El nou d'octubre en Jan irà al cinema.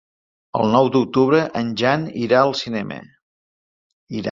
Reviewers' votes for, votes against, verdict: 1, 2, rejected